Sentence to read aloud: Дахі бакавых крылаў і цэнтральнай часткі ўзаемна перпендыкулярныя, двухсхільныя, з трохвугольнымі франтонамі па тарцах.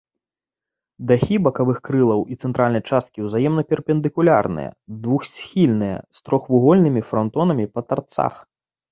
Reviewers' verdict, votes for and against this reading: rejected, 1, 2